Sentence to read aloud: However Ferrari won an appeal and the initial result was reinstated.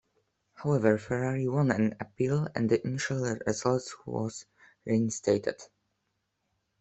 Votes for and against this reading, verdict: 0, 2, rejected